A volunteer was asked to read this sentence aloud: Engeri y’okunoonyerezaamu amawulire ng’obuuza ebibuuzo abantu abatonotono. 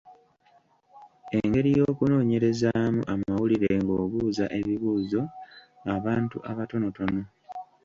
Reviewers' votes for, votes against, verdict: 2, 0, accepted